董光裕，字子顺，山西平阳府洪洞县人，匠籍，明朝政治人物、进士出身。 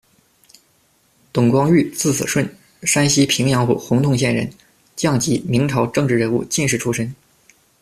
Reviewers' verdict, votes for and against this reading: accepted, 2, 1